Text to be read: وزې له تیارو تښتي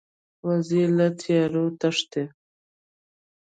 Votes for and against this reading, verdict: 0, 2, rejected